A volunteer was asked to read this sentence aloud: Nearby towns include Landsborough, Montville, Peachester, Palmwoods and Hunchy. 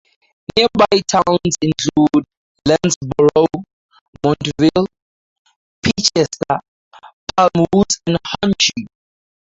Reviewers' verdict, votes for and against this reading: rejected, 0, 2